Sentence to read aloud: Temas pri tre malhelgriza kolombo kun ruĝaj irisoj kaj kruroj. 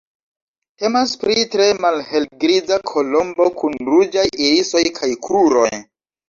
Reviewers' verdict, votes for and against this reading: accepted, 2, 0